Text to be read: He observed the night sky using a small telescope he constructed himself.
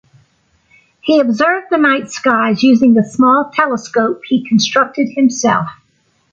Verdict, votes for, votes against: accepted, 2, 0